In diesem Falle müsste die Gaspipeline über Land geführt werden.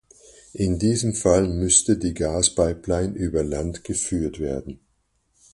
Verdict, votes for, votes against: rejected, 2, 4